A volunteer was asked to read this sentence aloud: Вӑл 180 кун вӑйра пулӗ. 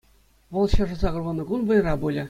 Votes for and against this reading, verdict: 0, 2, rejected